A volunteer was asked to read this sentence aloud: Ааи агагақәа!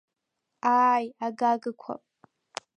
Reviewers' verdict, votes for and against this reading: rejected, 1, 2